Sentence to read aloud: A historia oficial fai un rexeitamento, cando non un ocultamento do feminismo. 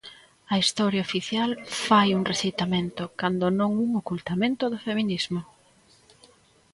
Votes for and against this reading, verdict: 1, 2, rejected